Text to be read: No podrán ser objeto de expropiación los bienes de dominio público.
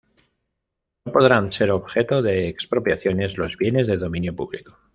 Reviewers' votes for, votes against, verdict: 1, 2, rejected